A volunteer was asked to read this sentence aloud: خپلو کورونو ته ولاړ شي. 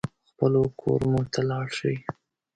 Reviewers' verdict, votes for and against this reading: rejected, 0, 2